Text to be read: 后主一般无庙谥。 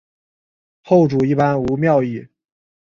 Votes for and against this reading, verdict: 2, 2, rejected